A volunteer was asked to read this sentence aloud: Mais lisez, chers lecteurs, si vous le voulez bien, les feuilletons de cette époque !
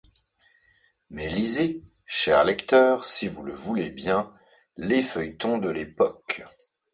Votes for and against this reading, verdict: 1, 2, rejected